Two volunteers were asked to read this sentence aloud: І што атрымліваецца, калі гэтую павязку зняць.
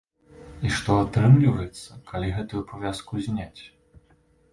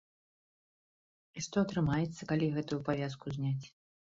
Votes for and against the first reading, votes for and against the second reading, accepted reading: 2, 0, 0, 2, first